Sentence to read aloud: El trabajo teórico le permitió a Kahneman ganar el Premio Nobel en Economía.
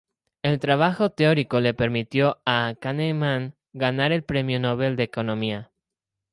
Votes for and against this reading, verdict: 2, 0, accepted